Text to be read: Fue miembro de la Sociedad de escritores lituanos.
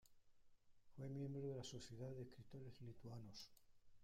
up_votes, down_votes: 1, 2